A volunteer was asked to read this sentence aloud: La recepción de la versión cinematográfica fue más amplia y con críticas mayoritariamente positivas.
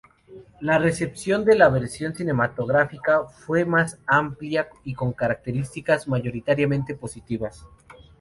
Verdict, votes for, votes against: rejected, 0, 2